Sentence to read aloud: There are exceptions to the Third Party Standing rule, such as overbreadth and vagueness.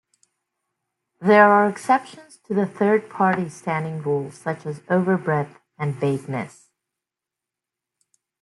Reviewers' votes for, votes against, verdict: 2, 0, accepted